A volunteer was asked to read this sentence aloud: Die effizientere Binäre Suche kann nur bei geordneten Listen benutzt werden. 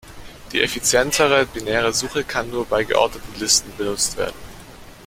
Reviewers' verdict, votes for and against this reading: accepted, 2, 0